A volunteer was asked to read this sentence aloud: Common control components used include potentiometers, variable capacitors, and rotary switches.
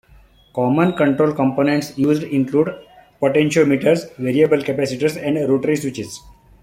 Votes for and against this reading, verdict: 1, 2, rejected